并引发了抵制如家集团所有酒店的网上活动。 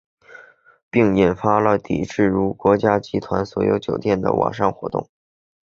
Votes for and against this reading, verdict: 0, 2, rejected